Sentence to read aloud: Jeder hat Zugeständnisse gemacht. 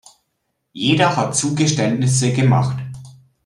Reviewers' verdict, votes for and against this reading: accepted, 2, 0